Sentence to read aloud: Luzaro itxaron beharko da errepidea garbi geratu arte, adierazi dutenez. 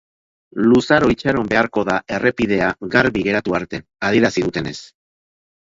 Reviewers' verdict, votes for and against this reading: accepted, 2, 0